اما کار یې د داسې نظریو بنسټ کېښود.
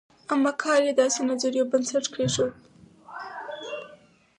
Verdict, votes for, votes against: accepted, 4, 2